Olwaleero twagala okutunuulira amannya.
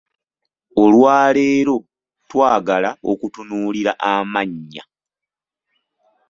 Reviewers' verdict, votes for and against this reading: accepted, 2, 0